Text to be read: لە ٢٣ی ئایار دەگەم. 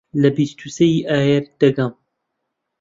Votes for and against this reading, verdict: 0, 2, rejected